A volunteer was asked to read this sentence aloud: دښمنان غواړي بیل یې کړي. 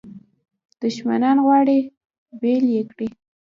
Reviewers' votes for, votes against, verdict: 2, 1, accepted